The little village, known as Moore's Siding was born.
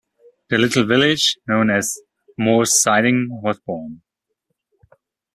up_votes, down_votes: 2, 0